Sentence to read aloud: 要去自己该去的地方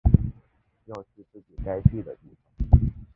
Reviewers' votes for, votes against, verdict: 0, 2, rejected